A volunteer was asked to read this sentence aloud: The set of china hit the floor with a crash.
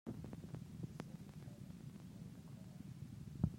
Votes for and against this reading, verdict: 0, 2, rejected